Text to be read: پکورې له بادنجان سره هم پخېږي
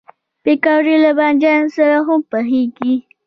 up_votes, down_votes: 0, 2